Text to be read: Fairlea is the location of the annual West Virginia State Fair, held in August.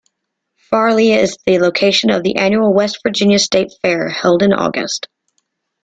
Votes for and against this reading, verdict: 2, 0, accepted